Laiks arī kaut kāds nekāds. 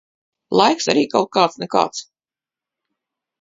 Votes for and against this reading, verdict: 2, 0, accepted